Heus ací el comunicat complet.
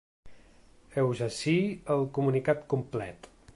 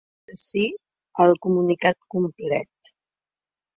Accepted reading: first